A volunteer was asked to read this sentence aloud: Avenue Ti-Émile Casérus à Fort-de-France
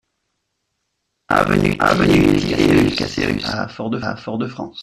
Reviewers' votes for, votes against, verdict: 0, 2, rejected